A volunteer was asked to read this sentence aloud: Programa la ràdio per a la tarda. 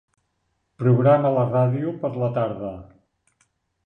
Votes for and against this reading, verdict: 2, 1, accepted